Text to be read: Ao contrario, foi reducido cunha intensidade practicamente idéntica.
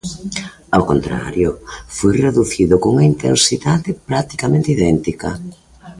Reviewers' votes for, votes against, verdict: 1, 2, rejected